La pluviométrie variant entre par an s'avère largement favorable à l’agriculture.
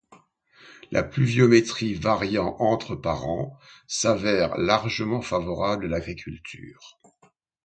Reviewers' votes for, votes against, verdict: 2, 0, accepted